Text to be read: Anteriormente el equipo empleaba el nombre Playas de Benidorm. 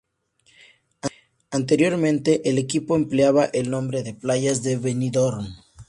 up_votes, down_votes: 2, 0